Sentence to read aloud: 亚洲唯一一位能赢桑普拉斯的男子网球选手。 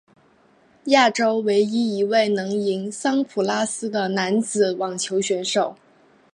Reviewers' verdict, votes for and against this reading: accepted, 2, 0